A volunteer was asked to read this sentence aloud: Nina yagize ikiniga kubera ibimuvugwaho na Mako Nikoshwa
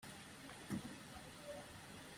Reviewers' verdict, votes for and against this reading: rejected, 0, 2